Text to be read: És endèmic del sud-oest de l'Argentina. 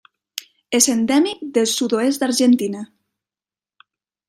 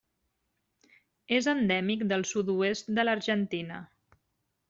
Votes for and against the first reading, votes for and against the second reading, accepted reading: 1, 2, 3, 0, second